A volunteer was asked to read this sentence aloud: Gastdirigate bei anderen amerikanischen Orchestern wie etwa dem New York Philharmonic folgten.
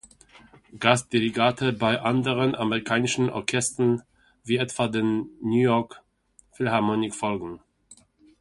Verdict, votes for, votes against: rejected, 1, 2